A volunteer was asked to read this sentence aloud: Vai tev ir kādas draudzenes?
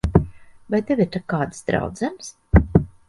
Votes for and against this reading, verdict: 0, 2, rejected